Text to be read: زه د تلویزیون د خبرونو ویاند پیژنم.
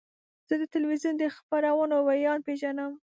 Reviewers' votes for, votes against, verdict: 8, 1, accepted